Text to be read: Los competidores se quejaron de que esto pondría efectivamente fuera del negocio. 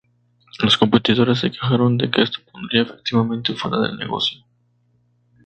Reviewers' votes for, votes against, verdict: 0, 2, rejected